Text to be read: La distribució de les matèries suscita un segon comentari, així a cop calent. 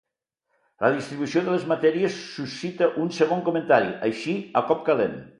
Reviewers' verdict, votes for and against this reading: accepted, 2, 0